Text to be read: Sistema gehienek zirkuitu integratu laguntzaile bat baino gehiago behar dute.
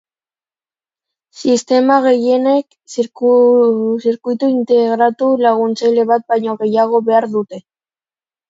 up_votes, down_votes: 1, 2